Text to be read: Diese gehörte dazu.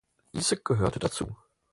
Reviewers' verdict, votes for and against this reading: accepted, 4, 0